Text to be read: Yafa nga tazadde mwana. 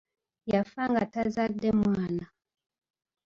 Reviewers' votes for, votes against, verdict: 2, 1, accepted